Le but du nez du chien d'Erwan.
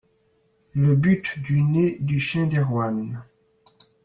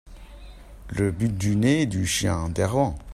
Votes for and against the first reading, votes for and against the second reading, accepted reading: 2, 0, 1, 2, first